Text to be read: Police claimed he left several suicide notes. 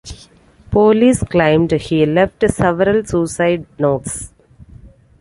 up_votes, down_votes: 2, 0